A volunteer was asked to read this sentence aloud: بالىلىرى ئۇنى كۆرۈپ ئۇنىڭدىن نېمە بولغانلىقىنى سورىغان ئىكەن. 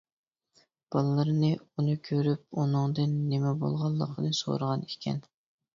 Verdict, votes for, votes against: rejected, 0, 2